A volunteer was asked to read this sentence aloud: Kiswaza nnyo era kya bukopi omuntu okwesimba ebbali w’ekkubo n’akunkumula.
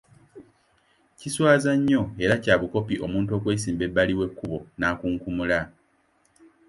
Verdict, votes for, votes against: accepted, 2, 0